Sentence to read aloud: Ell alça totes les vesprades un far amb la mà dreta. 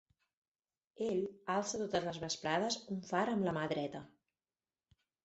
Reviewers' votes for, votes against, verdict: 6, 0, accepted